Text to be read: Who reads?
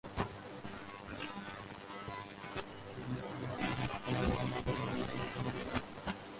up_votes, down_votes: 0, 4